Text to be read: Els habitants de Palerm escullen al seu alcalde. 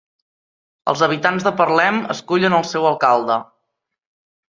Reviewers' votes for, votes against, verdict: 0, 2, rejected